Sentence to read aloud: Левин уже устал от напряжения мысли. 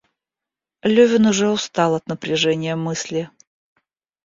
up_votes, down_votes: 1, 2